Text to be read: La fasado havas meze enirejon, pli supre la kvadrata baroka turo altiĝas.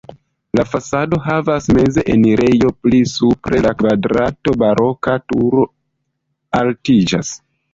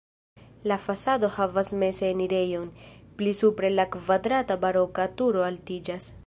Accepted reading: second